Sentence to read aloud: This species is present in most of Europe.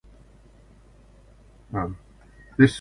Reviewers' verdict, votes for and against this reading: rejected, 0, 2